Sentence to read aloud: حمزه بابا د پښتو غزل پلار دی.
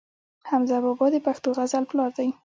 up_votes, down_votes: 1, 2